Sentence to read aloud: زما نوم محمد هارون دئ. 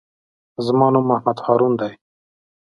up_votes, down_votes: 3, 0